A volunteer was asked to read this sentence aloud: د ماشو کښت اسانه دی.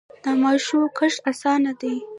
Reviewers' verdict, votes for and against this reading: rejected, 1, 2